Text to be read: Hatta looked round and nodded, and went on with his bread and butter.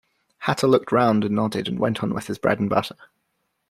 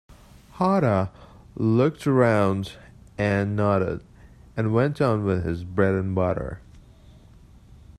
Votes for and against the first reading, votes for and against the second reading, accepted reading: 1, 2, 2, 0, second